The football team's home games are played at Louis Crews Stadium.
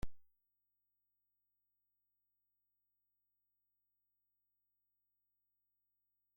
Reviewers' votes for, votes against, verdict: 0, 2, rejected